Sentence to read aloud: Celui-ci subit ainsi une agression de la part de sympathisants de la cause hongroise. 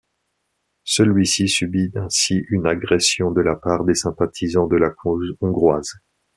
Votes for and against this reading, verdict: 1, 2, rejected